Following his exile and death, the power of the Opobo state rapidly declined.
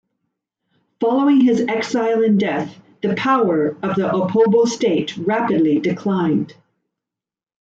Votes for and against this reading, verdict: 2, 1, accepted